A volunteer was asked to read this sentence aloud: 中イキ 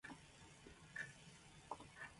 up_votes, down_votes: 1, 2